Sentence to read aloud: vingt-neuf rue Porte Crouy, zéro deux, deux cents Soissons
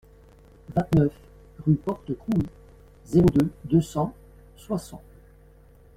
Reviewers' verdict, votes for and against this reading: accepted, 2, 1